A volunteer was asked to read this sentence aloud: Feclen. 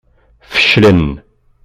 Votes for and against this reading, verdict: 3, 0, accepted